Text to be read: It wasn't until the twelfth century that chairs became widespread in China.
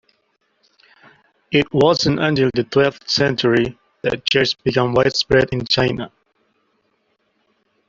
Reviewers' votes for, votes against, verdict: 0, 2, rejected